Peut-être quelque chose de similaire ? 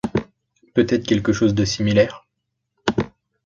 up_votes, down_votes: 2, 0